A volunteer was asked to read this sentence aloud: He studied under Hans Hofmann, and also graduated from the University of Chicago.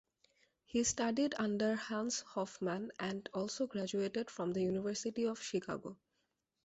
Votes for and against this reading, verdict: 2, 0, accepted